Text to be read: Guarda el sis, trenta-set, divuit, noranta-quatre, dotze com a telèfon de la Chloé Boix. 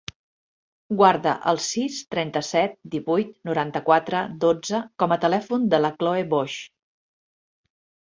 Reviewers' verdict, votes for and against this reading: accepted, 2, 1